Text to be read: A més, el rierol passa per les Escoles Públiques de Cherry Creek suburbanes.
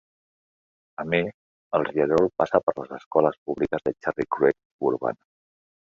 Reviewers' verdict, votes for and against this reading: rejected, 0, 2